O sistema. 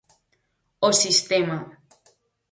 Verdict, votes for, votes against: accepted, 4, 0